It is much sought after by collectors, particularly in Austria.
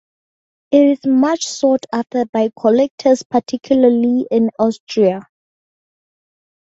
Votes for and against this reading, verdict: 4, 0, accepted